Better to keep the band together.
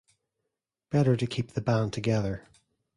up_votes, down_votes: 2, 0